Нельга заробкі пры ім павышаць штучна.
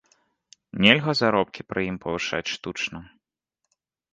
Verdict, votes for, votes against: accepted, 2, 0